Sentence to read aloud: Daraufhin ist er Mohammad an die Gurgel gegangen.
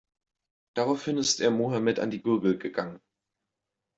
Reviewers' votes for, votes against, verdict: 1, 2, rejected